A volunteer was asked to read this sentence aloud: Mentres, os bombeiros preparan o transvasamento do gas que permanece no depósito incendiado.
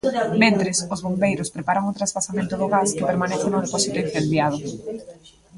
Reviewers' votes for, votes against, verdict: 1, 2, rejected